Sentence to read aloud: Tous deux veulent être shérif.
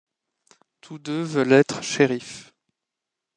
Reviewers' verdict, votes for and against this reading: accepted, 2, 0